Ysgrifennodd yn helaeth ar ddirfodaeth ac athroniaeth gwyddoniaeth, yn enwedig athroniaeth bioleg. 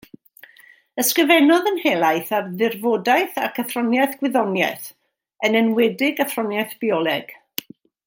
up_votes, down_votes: 2, 1